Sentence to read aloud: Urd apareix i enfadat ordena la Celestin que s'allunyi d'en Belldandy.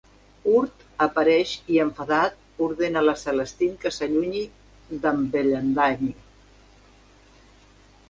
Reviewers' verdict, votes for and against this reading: rejected, 0, 2